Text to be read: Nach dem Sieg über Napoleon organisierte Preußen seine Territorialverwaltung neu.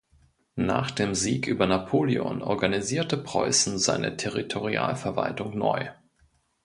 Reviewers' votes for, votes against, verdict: 2, 0, accepted